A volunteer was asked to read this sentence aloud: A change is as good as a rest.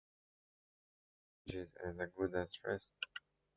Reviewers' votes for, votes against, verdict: 1, 2, rejected